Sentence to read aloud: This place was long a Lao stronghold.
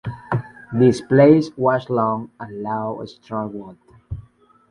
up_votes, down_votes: 2, 1